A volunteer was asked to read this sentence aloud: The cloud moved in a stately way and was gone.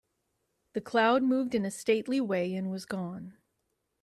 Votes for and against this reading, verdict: 2, 0, accepted